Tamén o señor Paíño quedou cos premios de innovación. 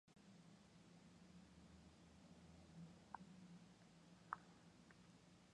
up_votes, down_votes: 0, 4